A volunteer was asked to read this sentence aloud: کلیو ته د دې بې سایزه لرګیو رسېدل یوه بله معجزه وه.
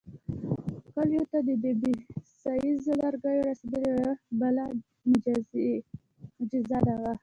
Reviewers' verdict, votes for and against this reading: rejected, 0, 2